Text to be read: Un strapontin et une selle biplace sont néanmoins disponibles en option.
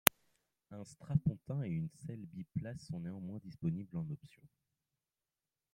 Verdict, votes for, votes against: accepted, 2, 1